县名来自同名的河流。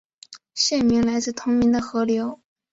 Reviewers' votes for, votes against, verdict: 2, 0, accepted